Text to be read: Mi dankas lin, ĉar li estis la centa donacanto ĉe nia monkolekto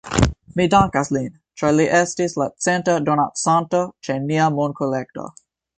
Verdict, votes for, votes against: accepted, 2, 0